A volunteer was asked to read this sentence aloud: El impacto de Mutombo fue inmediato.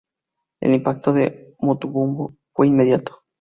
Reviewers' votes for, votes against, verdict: 0, 2, rejected